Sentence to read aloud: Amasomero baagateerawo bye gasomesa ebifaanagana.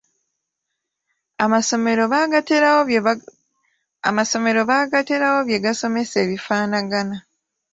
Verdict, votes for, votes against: rejected, 0, 2